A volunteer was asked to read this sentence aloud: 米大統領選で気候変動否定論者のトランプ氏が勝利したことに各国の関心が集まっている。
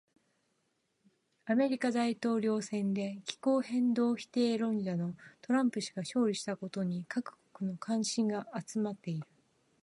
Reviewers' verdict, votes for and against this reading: accepted, 2, 1